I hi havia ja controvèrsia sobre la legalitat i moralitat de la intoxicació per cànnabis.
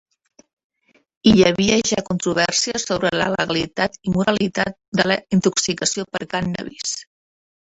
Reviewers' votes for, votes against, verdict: 0, 2, rejected